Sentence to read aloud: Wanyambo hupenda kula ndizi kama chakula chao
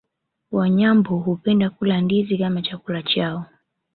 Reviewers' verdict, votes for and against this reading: accepted, 2, 0